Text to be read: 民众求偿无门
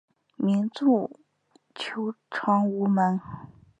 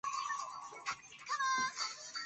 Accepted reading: first